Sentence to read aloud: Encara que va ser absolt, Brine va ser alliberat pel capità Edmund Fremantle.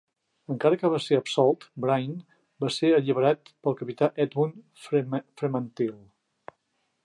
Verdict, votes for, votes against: rejected, 0, 2